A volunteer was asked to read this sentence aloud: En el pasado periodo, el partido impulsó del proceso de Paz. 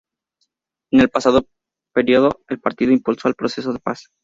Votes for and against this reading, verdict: 0, 2, rejected